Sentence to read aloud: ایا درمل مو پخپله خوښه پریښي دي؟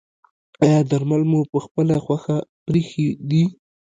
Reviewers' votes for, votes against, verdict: 1, 2, rejected